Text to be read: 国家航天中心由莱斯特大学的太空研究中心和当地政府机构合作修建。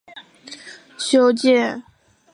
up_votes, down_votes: 0, 4